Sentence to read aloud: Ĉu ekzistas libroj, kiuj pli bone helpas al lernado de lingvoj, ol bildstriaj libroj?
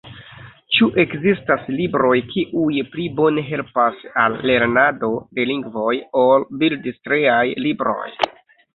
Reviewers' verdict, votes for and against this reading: accepted, 3, 2